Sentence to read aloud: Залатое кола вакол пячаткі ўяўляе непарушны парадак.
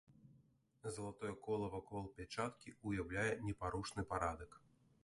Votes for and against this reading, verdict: 1, 2, rejected